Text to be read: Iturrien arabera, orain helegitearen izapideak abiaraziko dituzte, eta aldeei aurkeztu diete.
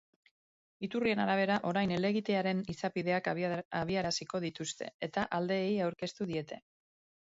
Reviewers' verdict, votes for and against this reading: rejected, 1, 3